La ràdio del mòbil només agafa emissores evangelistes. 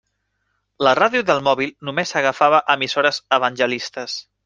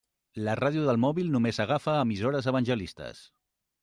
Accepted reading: second